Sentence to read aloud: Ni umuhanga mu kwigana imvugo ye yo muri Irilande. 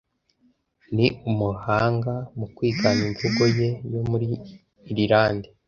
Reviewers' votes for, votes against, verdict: 2, 0, accepted